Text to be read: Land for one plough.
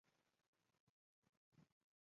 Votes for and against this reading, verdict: 0, 2, rejected